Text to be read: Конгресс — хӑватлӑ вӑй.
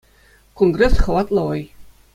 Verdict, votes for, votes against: accepted, 2, 0